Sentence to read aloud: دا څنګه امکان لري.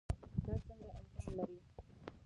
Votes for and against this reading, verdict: 0, 2, rejected